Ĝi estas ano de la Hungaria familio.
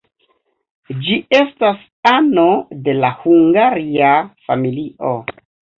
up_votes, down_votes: 2, 1